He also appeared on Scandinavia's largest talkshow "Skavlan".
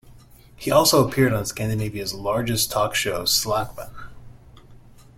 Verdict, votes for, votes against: rejected, 0, 2